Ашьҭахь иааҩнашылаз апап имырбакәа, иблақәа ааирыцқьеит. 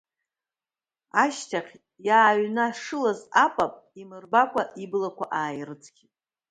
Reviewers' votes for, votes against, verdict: 2, 0, accepted